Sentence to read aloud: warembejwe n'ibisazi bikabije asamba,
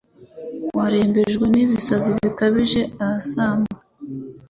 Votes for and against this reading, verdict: 2, 0, accepted